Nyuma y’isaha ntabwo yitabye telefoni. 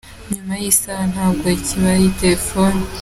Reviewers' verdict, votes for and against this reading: rejected, 0, 3